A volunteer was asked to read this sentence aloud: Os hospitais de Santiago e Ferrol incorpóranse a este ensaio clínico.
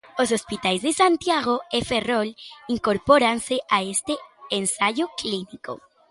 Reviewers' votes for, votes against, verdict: 2, 0, accepted